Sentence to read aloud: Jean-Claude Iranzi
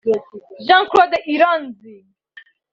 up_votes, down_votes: 3, 0